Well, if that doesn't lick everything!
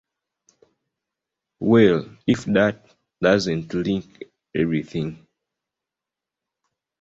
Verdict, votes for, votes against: accepted, 2, 1